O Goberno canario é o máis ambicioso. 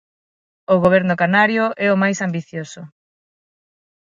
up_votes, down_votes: 6, 0